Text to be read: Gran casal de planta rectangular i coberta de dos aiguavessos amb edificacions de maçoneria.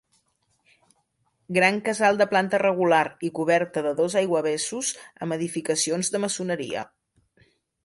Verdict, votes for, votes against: rejected, 1, 2